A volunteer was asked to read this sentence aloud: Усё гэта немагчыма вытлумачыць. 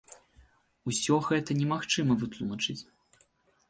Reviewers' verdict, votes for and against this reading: accepted, 3, 0